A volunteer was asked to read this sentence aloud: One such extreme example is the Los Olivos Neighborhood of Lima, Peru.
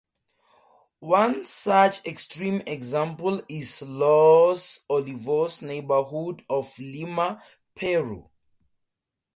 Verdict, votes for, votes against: rejected, 0, 2